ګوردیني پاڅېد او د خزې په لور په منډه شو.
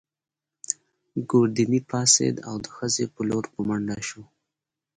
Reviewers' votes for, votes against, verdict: 2, 0, accepted